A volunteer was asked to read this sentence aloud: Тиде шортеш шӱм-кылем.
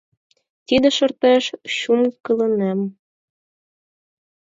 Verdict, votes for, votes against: rejected, 2, 4